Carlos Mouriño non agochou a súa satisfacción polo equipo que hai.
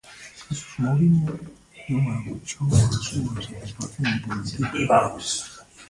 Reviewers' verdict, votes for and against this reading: rejected, 0, 2